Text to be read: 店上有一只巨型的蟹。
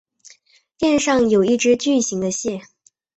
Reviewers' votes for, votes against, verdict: 3, 0, accepted